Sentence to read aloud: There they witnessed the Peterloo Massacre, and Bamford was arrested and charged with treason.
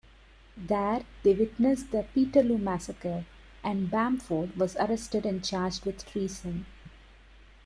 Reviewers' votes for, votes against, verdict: 2, 0, accepted